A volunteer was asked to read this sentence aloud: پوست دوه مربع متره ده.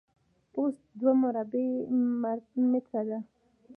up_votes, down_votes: 2, 1